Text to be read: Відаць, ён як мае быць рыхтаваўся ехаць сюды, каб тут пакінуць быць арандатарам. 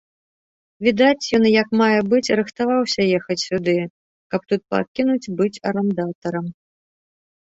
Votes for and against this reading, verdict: 2, 0, accepted